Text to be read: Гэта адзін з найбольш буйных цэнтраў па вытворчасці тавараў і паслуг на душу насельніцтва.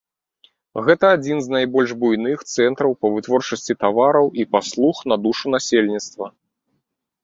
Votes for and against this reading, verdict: 3, 0, accepted